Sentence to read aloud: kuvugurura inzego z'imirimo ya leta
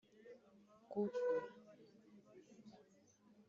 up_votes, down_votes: 1, 2